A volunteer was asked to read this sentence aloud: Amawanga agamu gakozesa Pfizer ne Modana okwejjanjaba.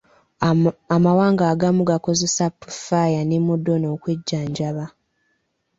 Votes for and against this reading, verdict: 1, 2, rejected